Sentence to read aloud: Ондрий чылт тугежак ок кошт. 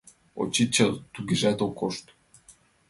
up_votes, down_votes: 1, 2